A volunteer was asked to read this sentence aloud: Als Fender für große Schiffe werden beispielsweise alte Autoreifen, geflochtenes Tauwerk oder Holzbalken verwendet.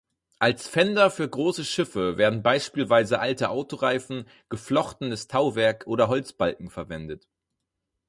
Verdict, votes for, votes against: accepted, 4, 2